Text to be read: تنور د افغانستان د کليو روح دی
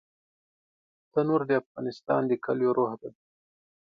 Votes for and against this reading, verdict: 2, 0, accepted